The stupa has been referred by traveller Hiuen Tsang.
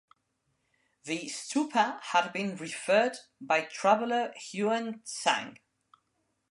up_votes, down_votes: 0, 2